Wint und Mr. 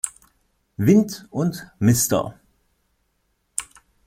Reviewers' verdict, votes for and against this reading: accepted, 2, 0